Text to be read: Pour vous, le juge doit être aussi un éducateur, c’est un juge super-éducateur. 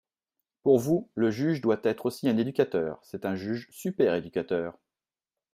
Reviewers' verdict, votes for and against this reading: accepted, 2, 0